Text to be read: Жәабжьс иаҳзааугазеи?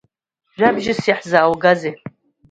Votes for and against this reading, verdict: 2, 1, accepted